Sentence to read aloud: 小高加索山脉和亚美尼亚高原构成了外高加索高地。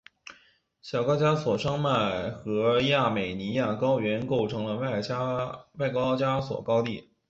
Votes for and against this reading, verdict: 0, 2, rejected